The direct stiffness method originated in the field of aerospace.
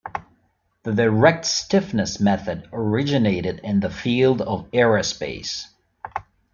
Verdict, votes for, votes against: accepted, 2, 0